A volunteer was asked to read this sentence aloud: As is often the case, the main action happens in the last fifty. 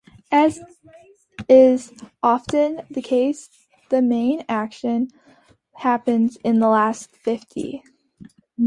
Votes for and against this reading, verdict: 2, 1, accepted